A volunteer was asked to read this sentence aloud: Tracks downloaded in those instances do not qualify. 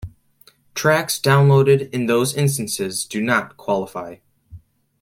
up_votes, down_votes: 2, 0